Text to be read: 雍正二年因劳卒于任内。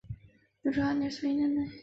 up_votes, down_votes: 6, 2